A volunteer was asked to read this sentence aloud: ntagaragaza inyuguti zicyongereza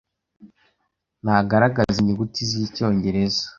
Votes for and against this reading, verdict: 2, 0, accepted